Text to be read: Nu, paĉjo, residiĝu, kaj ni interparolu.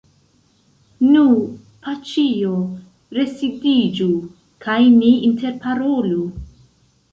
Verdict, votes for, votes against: rejected, 1, 2